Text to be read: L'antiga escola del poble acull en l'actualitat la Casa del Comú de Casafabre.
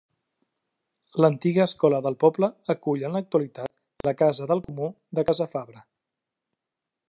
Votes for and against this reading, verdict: 2, 0, accepted